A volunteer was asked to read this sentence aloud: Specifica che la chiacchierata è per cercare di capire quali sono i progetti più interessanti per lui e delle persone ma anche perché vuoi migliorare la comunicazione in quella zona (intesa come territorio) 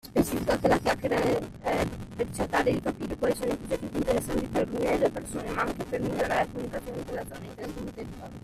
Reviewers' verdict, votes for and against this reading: rejected, 0, 2